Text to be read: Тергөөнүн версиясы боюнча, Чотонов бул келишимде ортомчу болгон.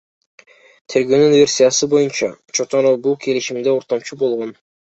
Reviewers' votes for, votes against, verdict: 0, 2, rejected